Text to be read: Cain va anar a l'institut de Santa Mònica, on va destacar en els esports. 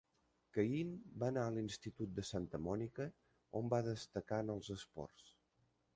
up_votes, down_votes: 1, 2